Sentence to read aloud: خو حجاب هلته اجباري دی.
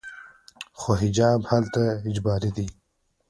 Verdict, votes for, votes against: rejected, 1, 2